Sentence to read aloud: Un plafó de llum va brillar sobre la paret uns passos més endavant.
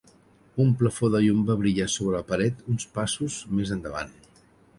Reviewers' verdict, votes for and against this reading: accepted, 3, 1